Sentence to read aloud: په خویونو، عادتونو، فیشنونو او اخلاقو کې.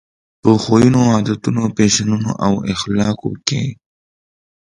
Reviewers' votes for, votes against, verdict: 2, 0, accepted